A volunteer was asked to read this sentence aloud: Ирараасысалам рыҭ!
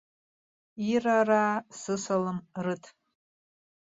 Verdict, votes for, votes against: accepted, 2, 0